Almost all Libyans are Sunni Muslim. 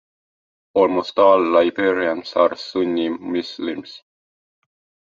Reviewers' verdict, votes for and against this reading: rejected, 1, 2